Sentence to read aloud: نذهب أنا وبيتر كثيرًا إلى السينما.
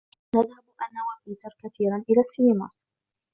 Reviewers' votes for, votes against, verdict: 1, 2, rejected